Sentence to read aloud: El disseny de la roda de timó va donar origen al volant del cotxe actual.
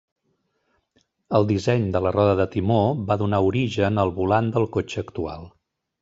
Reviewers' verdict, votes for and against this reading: rejected, 0, 2